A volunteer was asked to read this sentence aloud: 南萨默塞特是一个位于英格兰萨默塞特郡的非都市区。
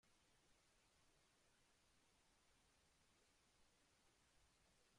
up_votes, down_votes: 0, 2